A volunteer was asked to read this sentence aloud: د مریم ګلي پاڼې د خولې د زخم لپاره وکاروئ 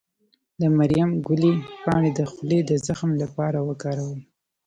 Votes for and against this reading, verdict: 1, 2, rejected